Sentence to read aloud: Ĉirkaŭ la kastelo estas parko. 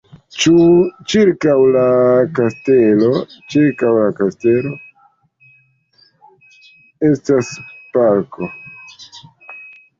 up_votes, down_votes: 1, 2